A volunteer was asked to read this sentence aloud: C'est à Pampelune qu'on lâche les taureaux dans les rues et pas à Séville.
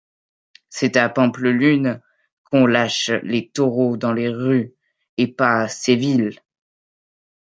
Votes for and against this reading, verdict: 0, 2, rejected